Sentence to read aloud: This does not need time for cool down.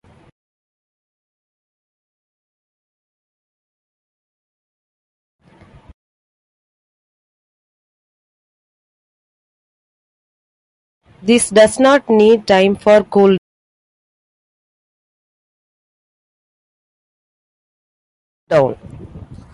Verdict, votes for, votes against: rejected, 0, 2